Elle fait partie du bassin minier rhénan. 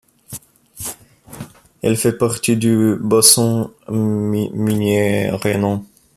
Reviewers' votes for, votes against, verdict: 0, 2, rejected